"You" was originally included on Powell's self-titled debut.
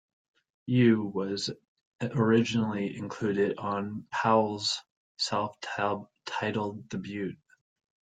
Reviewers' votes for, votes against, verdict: 0, 2, rejected